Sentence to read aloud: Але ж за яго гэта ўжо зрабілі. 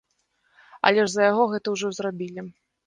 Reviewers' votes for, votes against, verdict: 2, 0, accepted